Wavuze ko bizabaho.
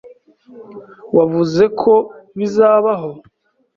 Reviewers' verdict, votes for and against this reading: accepted, 2, 0